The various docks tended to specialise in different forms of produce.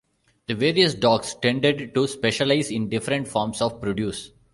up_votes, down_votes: 2, 0